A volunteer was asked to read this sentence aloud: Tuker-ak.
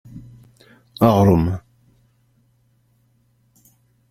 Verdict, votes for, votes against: rejected, 0, 2